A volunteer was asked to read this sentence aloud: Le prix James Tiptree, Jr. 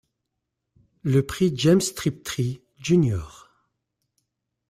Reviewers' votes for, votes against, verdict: 0, 2, rejected